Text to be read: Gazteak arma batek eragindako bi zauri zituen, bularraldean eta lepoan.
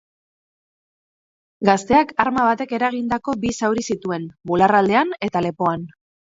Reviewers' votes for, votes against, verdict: 6, 0, accepted